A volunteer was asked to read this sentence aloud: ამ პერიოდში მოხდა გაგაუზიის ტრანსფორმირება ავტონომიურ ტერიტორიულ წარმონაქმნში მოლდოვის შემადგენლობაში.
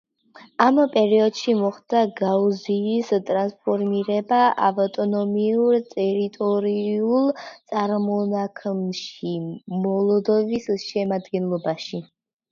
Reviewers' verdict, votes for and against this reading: rejected, 0, 2